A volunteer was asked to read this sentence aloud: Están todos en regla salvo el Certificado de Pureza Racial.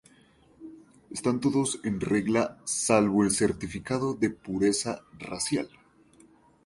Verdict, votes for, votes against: accepted, 2, 0